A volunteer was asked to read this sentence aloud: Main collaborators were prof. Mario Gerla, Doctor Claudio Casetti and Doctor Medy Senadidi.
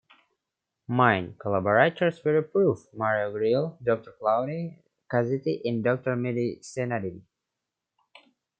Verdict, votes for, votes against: accepted, 2, 1